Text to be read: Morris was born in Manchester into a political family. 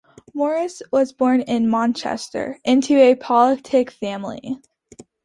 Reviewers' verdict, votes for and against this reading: rejected, 0, 2